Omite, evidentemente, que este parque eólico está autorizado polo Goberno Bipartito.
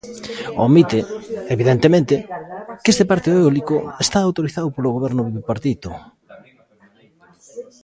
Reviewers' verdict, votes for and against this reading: rejected, 0, 3